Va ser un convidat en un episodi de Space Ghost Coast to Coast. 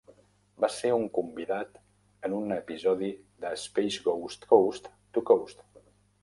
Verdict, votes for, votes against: accepted, 3, 0